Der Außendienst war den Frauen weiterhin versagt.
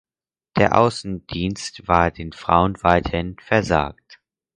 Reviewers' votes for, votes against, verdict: 4, 2, accepted